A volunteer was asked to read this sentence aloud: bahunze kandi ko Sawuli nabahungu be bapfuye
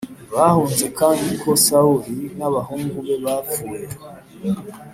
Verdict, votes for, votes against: accepted, 2, 0